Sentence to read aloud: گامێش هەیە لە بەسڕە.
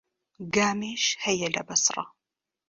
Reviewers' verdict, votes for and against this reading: accepted, 2, 0